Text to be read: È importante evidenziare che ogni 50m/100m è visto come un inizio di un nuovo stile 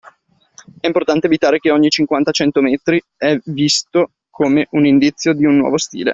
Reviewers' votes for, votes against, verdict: 0, 2, rejected